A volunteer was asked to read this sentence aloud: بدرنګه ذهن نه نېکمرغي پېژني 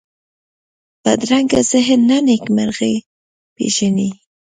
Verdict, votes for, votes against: rejected, 1, 2